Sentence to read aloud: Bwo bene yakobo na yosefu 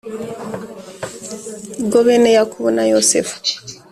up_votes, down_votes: 2, 0